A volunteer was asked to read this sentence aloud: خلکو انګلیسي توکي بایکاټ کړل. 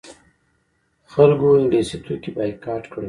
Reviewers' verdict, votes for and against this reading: rejected, 1, 2